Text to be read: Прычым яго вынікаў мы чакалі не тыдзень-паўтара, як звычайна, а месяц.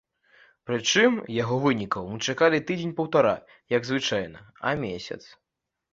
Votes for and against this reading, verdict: 0, 2, rejected